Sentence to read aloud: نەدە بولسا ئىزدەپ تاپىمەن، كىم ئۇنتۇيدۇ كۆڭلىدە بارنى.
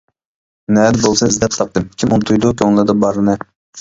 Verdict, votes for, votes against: rejected, 0, 2